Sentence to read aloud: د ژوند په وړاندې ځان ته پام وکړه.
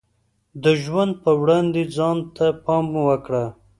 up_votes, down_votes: 2, 0